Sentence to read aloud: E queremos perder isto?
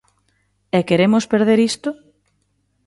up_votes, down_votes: 2, 0